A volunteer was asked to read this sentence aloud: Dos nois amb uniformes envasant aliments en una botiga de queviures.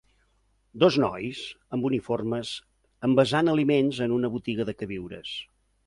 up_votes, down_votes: 2, 0